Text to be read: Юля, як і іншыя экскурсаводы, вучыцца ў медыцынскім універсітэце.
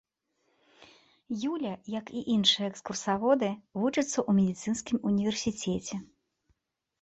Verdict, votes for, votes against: rejected, 0, 2